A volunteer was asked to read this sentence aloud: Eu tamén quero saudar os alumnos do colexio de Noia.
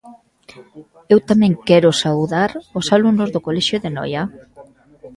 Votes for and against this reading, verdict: 2, 0, accepted